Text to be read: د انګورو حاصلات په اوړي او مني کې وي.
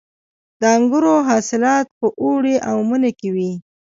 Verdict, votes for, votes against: accepted, 2, 0